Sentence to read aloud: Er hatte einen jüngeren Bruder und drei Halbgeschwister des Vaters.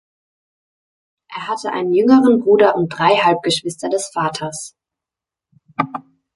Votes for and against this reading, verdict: 2, 0, accepted